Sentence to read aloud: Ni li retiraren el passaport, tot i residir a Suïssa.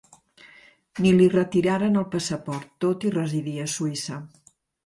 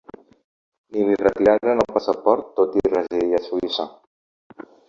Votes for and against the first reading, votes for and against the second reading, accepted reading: 4, 1, 1, 2, first